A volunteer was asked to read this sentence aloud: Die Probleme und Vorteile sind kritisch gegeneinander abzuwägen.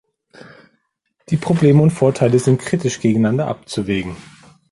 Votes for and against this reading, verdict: 1, 2, rejected